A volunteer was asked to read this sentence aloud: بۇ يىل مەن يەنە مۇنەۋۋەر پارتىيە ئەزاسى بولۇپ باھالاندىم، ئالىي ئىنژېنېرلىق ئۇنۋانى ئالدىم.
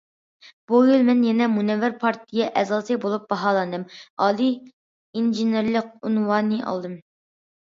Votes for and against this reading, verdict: 2, 0, accepted